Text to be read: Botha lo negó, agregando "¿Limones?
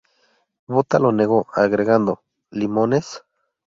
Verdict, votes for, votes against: accepted, 2, 0